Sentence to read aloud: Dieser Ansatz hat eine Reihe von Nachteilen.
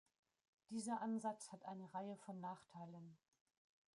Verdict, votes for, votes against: rejected, 0, 2